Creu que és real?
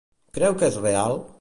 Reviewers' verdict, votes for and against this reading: accepted, 2, 0